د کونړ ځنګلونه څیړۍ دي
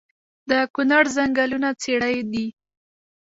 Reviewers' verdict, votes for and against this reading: rejected, 0, 2